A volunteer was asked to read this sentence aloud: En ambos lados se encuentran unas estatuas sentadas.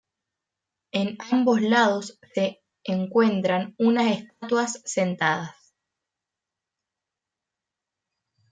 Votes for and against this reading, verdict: 0, 2, rejected